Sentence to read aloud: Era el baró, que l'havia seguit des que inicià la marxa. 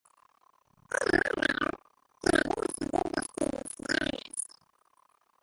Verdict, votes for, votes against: rejected, 1, 2